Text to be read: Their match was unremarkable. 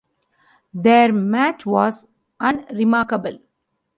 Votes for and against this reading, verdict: 2, 0, accepted